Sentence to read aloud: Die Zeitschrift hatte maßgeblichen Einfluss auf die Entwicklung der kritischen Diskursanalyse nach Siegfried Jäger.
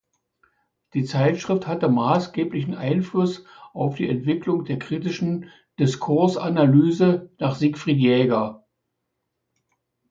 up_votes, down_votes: 2, 0